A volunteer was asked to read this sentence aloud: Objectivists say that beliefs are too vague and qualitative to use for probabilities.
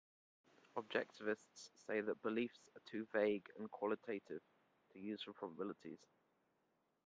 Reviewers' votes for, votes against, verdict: 2, 1, accepted